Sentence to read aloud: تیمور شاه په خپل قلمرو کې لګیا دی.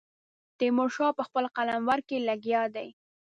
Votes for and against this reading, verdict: 1, 2, rejected